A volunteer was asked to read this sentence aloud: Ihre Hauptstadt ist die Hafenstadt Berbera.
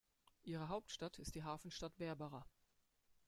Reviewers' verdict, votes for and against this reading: rejected, 1, 2